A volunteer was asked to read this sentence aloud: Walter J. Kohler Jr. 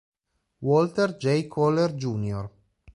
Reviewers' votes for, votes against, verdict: 2, 1, accepted